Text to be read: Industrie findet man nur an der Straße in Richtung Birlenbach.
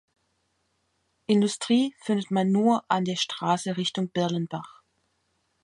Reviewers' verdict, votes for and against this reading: rejected, 1, 2